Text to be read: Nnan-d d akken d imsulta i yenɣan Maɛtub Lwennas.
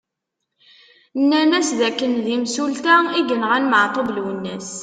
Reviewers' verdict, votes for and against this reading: accepted, 2, 1